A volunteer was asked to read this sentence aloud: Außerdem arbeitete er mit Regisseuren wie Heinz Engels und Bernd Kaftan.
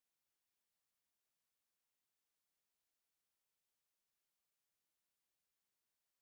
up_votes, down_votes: 0, 2